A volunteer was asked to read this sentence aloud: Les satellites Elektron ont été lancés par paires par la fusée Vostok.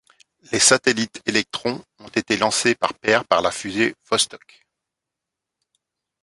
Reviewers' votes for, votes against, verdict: 2, 0, accepted